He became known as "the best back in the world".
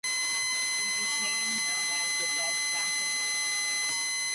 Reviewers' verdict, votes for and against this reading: rejected, 0, 2